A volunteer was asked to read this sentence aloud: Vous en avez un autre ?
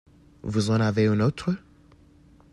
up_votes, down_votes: 2, 0